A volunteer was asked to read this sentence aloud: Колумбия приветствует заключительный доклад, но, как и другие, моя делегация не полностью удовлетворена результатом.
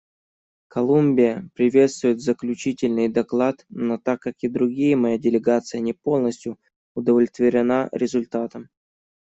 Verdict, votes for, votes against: rejected, 1, 2